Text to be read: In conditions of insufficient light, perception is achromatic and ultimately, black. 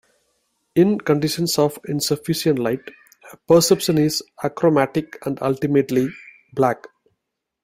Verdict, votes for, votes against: accepted, 2, 1